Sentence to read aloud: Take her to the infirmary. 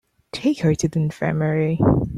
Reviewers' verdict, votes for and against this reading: accepted, 3, 0